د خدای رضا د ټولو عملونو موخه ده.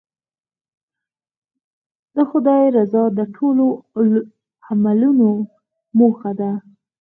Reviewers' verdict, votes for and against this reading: rejected, 2, 4